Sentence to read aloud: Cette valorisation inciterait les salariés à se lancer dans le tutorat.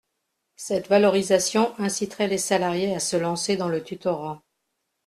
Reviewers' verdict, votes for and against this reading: accepted, 2, 0